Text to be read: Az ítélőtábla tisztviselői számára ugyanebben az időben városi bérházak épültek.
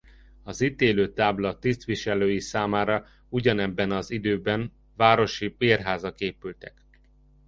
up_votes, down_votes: 2, 0